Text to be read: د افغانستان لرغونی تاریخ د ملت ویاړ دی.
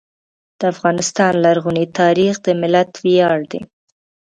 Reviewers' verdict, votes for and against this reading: accepted, 2, 0